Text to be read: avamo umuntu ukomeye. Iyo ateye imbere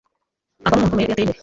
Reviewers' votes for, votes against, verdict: 0, 2, rejected